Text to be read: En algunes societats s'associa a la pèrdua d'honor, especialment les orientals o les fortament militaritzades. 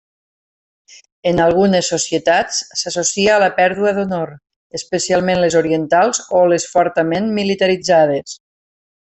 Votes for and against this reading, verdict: 3, 1, accepted